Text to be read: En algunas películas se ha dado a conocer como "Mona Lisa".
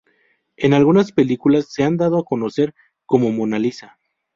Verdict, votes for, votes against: rejected, 0, 2